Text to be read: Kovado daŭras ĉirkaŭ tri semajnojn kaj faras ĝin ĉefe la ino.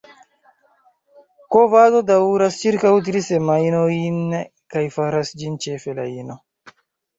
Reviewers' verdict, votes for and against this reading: rejected, 0, 3